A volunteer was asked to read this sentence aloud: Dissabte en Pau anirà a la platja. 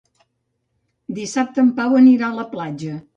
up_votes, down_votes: 2, 0